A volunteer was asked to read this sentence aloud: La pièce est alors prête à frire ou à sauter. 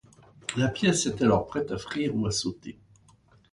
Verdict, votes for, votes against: accepted, 2, 0